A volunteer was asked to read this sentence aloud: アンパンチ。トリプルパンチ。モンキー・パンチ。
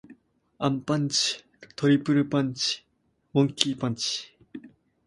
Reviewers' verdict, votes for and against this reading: accepted, 2, 0